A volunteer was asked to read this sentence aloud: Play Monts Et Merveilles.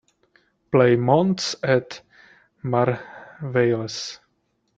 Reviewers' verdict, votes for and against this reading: accepted, 2, 1